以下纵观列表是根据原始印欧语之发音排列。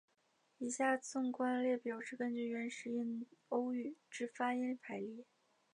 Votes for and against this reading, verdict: 2, 1, accepted